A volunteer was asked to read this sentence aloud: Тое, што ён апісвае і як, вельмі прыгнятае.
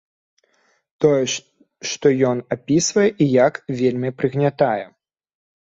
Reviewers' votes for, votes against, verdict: 1, 2, rejected